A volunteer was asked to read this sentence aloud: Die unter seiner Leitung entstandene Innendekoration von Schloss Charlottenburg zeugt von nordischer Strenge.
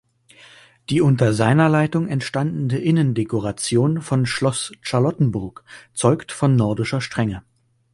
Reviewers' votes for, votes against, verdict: 0, 2, rejected